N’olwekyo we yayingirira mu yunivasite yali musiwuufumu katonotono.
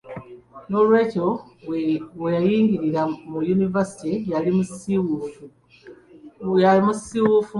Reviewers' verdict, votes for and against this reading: rejected, 0, 2